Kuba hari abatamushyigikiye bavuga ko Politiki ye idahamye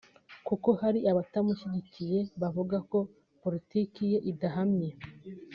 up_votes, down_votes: 2, 0